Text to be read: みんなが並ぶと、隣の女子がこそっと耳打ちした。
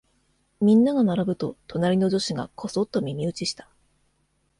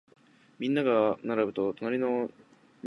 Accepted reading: first